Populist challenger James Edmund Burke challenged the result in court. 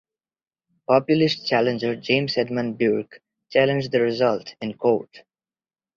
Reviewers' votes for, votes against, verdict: 4, 1, accepted